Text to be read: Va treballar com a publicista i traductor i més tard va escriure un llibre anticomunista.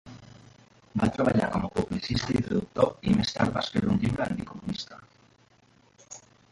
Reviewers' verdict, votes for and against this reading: rejected, 0, 2